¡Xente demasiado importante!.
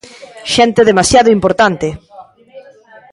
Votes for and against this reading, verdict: 0, 2, rejected